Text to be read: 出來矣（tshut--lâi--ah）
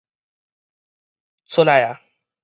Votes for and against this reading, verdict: 4, 0, accepted